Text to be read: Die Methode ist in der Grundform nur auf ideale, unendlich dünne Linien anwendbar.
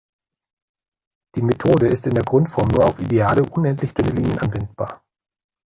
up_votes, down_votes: 2, 0